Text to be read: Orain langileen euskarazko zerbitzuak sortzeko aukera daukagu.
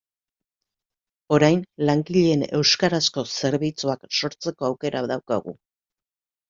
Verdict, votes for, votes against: accepted, 2, 0